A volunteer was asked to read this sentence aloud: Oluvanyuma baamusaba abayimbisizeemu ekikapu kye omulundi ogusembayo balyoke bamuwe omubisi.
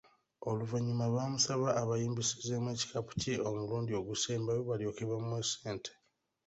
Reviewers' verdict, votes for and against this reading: rejected, 1, 2